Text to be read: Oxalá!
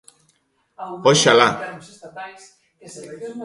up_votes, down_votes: 0, 2